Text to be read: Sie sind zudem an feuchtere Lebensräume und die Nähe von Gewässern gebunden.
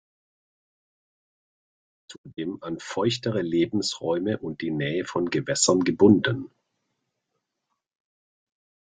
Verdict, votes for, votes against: rejected, 0, 2